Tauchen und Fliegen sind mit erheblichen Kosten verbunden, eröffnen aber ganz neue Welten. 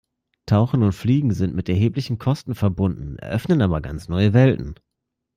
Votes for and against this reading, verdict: 2, 0, accepted